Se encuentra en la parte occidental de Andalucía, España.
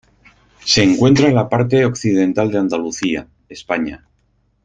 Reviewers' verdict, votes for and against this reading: accepted, 4, 0